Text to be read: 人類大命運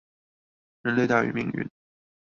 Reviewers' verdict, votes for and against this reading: rejected, 0, 2